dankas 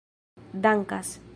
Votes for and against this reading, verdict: 2, 0, accepted